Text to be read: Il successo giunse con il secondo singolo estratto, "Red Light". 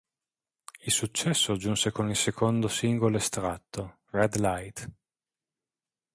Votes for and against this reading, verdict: 3, 0, accepted